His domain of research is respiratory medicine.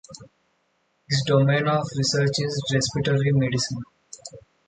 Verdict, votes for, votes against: accepted, 2, 0